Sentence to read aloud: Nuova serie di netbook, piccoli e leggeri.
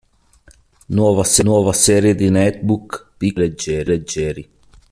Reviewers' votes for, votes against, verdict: 0, 3, rejected